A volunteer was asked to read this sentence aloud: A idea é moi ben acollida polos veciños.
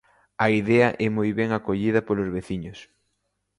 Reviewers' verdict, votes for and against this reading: accepted, 2, 0